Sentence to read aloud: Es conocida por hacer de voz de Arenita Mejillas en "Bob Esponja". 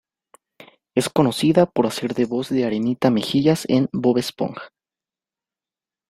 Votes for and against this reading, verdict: 2, 1, accepted